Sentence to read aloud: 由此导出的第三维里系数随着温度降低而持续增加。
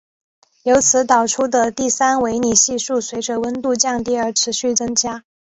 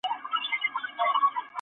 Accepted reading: first